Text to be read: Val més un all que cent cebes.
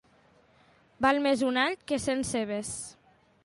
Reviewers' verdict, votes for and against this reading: accepted, 2, 0